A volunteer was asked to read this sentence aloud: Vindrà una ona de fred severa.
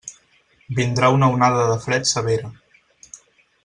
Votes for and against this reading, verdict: 0, 4, rejected